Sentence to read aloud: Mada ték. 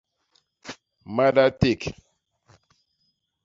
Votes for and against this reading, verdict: 1, 2, rejected